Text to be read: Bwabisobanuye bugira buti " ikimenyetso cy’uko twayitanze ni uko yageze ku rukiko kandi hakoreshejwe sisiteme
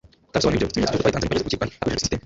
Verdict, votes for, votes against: accepted, 2, 0